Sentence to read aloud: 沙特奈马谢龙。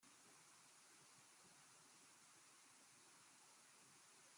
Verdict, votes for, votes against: rejected, 0, 2